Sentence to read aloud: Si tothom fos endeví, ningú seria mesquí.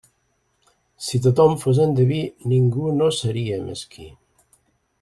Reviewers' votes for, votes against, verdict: 0, 2, rejected